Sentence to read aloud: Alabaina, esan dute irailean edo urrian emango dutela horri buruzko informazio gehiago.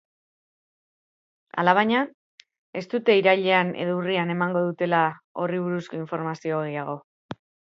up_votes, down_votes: 0, 3